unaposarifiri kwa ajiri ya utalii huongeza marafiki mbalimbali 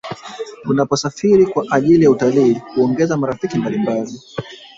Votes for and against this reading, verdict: 0, 2, rejected